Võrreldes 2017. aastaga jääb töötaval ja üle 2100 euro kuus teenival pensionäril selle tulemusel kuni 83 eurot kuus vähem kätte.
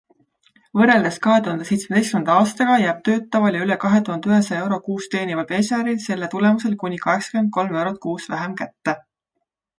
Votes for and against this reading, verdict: 0, 2, rejected